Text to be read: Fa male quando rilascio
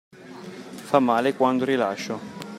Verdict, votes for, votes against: accepted, 2, 0